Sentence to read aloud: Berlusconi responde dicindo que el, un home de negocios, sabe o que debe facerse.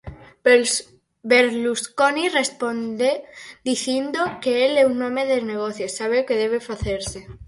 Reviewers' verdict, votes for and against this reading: rejected, 0, 4